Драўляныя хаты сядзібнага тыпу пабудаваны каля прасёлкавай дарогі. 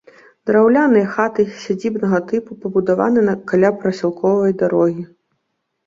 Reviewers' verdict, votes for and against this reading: accepted, 2, 0